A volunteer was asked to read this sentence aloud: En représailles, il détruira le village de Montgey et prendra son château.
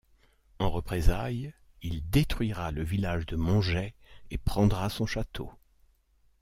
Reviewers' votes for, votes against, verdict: 2, 0, accepted